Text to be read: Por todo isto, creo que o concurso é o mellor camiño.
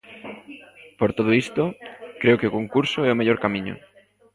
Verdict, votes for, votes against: rejected, 0, 2